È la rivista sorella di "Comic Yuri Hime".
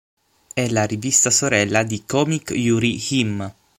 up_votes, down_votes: 6, 3